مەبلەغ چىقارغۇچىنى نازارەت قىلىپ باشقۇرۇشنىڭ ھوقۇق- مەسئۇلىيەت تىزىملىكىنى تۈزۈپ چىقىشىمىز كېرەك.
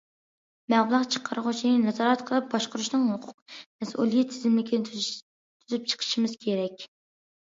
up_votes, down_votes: 0, 2